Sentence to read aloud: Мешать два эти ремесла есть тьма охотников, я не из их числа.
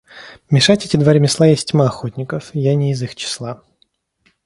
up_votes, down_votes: 1, 2